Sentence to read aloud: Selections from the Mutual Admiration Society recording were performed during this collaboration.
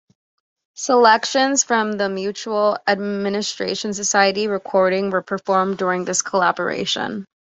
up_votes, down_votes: 2, 1